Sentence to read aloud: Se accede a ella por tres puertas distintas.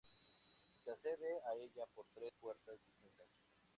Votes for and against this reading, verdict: 0, 2, rejected